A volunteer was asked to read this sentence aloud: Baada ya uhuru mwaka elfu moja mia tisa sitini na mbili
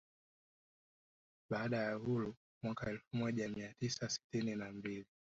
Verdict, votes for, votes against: accepted, 3, 1